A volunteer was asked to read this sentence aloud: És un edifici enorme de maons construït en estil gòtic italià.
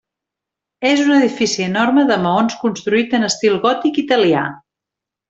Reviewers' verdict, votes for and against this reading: accepted, 3, 0